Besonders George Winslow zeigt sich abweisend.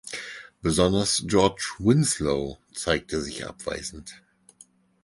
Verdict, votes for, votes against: rejected, 2, 4